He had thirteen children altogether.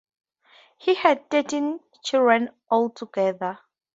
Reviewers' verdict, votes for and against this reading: accepted, 2, 0